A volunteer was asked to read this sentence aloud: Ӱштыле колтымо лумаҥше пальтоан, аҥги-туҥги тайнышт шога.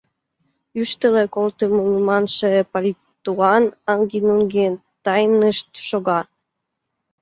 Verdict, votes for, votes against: rejected, 0, 2